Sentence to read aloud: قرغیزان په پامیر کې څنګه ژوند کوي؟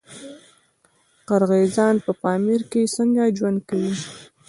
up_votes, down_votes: 2, 0